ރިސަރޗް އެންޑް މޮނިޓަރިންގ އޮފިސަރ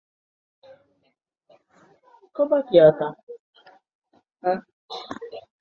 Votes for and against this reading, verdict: 0, 2, rejected